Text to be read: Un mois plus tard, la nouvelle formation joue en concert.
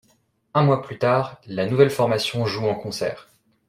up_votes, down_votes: 2, 0